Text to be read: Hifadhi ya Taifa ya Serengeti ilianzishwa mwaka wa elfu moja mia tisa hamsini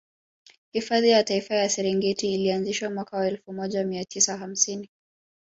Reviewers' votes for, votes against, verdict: 3, 2, accepted